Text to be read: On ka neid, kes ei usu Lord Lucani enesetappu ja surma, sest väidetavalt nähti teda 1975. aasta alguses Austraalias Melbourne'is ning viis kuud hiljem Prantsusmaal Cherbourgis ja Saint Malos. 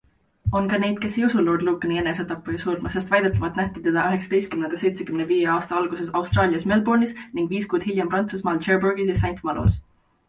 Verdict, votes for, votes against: rejected, 0, 2